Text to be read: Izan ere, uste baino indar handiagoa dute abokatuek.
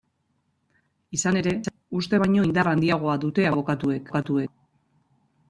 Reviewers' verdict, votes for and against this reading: rejected, 1, 2